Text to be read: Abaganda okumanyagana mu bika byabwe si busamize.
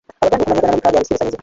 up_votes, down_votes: 0, 2